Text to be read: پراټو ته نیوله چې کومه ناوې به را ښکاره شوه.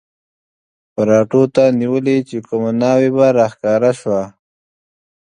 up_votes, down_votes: 2, 0